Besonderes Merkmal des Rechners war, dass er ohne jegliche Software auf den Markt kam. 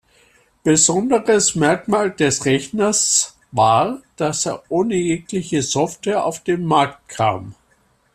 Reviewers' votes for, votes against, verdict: 2, 0, accepted